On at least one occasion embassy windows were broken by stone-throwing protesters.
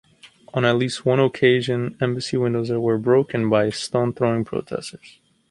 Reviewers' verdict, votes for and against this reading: accepted, 2, 0